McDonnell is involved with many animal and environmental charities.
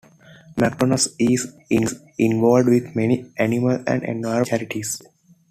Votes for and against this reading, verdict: 2, 0, accepted